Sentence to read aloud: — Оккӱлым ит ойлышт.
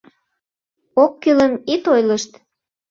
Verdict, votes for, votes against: accepted, 2, 0